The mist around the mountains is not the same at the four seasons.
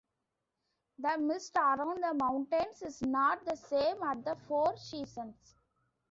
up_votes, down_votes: 2, 0